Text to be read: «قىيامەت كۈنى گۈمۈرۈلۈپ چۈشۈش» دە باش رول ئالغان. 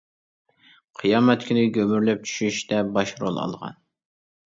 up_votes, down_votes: 1, 2